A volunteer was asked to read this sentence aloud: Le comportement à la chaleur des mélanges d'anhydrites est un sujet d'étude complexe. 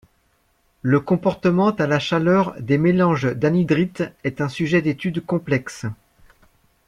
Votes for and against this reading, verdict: 1, 2, rejected